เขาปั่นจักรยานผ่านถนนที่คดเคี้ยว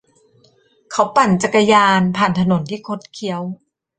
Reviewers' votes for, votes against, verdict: 2, 0, accepted